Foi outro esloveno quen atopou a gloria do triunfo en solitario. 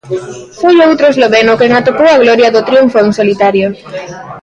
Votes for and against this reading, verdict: 2, 0, accepted